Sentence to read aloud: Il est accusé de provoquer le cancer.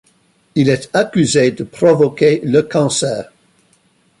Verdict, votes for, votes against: rejected, 1, 2